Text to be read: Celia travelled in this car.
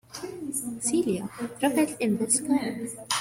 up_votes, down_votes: 1, 2